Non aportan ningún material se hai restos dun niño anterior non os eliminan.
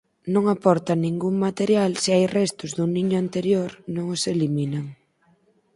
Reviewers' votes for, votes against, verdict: 2, 4, rejected